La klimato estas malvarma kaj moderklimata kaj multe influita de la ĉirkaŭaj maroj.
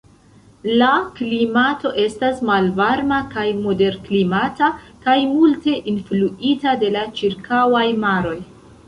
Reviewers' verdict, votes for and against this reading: accepted, 2, 1